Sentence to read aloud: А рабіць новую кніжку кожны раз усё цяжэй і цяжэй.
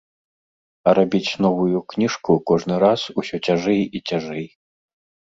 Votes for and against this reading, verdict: 2, 0, accepted